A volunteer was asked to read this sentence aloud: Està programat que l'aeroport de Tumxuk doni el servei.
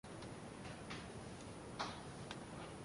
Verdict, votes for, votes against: rejected, 1, 2